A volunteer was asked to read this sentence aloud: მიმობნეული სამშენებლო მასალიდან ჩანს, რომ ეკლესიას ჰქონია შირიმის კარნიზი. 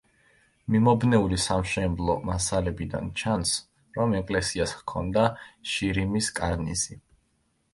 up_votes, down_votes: 0, 2